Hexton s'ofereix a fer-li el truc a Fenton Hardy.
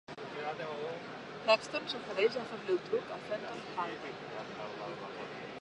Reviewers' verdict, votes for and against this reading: rejected, 0, 2